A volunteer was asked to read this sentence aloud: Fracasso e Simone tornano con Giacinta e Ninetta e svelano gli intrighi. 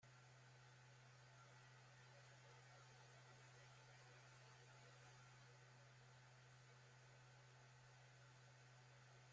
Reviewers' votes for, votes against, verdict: 0, 2, rejected